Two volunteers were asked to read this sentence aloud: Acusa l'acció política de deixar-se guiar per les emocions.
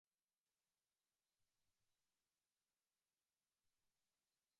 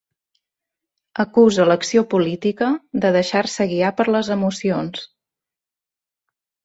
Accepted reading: second